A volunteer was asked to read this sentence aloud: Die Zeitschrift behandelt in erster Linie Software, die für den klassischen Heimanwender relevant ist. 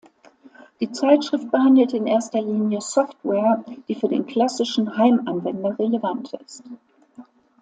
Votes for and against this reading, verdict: 2, 0, accepted